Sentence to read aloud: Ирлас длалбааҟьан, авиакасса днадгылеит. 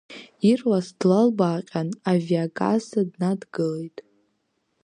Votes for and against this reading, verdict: 2, 0, accepted